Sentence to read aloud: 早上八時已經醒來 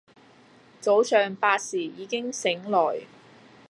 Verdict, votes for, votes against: accepted, 2, 0